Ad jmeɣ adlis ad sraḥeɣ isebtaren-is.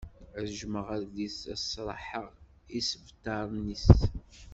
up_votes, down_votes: 1, 2